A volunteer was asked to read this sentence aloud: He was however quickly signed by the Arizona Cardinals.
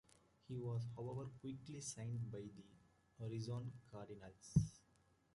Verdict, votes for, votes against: rejected, 1, 2